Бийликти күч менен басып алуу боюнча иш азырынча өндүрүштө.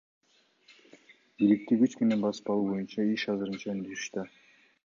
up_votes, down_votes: 2, 0